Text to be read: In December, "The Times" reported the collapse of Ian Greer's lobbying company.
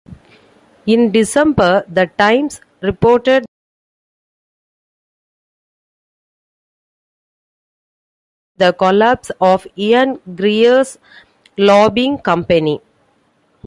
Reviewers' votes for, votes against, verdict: 0, 2, rejected